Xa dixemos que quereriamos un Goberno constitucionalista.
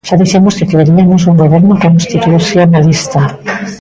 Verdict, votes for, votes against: rejected, 0, 2